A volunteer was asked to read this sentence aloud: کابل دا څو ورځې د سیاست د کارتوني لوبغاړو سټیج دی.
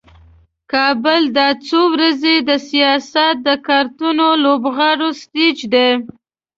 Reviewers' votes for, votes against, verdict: 2, 0, accepted